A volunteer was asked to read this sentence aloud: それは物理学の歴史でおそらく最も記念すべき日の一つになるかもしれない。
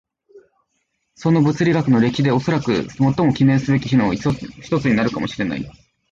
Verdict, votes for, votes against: rejected, 1, 2